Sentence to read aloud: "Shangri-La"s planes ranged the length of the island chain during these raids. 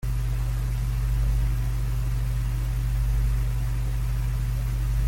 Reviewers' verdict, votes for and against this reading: rejected, 0, 2